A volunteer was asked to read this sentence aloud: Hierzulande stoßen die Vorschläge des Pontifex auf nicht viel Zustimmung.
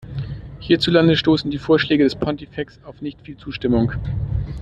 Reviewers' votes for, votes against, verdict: 2, 0, accepted